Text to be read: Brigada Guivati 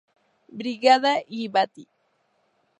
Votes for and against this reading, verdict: 2, 0, accepted